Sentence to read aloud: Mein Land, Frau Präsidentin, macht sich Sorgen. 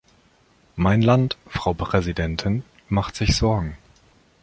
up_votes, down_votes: 3, 0